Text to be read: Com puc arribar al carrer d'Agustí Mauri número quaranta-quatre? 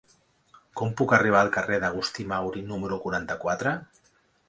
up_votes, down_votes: 3, 0